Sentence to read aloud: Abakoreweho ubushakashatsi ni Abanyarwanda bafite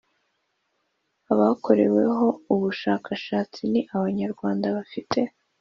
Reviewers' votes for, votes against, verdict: 2, 0, accepted